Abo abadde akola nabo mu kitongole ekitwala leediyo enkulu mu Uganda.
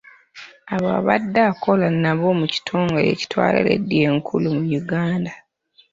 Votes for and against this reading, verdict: 0, 2, rejected